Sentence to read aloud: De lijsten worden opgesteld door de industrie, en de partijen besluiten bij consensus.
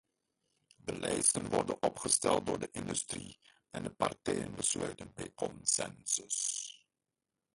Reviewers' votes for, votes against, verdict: 0, 2, rejected